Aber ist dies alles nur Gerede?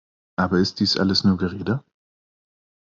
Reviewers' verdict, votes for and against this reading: accepted, 2, 0